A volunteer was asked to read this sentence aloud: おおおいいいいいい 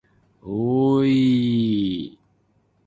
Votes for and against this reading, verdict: 2, 1, accepted